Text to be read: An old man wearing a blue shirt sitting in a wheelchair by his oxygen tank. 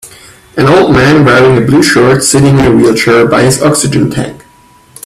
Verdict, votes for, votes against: rejected, 0, 2